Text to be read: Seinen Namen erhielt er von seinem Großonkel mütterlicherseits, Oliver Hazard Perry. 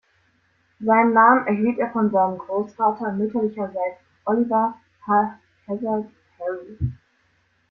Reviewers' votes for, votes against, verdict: 0, 2, rejected